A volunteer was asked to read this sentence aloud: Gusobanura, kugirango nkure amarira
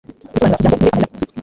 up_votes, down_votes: 1, 2